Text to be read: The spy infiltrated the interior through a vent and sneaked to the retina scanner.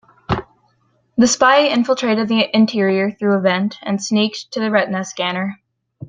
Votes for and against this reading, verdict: 2, 0, accepted